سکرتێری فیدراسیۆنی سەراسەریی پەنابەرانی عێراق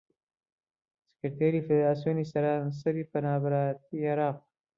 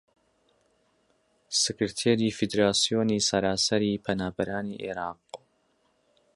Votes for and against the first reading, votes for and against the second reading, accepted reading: 1, 2, 3, 0, second